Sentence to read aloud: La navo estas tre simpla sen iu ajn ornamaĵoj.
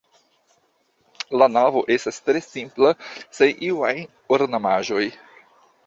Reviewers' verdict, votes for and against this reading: rejected, 1, 2